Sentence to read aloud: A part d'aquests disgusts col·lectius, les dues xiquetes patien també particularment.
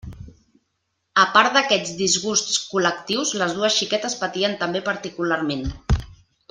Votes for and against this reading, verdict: 1, 2, rejected